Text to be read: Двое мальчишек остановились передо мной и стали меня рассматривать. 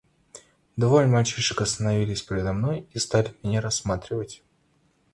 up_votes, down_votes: 2, 0